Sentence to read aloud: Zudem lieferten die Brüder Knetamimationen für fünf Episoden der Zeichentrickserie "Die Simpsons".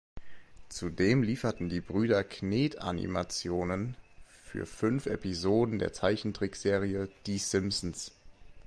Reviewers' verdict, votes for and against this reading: accepted, 2, 0